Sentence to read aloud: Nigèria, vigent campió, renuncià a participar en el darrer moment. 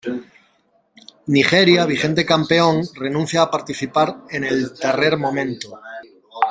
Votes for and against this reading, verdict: 0, 2, rejected